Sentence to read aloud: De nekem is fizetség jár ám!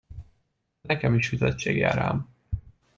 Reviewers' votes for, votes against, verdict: 0, 2, rejected